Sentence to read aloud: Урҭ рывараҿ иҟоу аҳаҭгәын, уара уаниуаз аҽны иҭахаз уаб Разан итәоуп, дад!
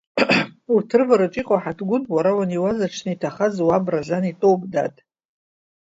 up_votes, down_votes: 1, 2